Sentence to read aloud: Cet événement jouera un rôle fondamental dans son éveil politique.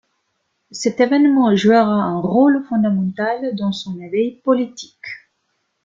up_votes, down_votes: 1, 2